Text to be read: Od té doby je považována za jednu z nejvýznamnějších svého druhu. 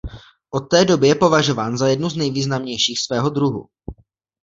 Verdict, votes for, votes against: rejected, 1, 2